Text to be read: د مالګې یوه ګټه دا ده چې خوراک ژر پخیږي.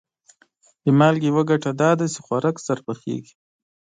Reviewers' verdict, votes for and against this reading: accepted, 2, 0